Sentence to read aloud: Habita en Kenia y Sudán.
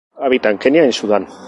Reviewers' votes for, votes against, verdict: 2, 0, accepted